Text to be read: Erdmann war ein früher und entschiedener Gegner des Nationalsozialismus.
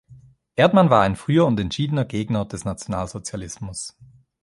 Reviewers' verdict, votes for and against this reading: accepted, 3, 0